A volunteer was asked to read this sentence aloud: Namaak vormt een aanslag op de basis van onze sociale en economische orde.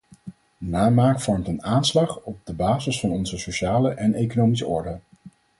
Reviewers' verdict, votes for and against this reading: accepted, 4, 0